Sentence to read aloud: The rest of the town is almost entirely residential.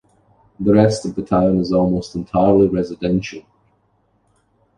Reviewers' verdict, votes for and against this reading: accepted, 2, 1